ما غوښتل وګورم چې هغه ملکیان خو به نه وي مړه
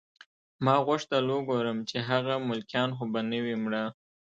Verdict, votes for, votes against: accepted, 2, 0